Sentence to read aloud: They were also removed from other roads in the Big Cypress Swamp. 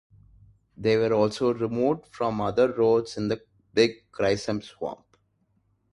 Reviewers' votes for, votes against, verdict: 0, 2, rejected